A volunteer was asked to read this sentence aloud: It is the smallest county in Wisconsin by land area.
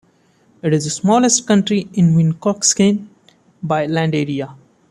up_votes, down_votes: 1, 2